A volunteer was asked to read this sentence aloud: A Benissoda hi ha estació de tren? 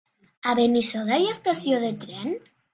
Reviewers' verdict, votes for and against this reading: accepted, 3, 0